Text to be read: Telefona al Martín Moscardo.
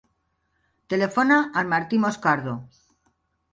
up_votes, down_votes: 1, 2